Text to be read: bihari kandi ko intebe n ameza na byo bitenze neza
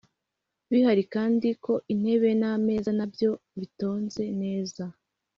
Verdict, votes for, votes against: accepted, 2, 0